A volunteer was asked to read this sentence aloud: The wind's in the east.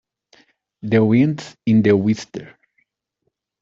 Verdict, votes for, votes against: rejected, 0, 2